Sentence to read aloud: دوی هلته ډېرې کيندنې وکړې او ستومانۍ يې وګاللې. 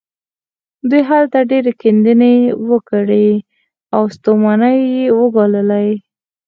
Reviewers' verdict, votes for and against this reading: accepted, 4, 0